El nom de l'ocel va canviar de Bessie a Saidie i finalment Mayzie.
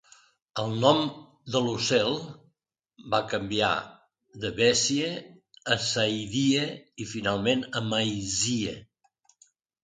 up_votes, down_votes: 0, 2